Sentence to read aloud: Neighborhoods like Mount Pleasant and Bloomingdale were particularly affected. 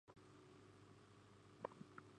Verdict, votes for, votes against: rejected, 0, 2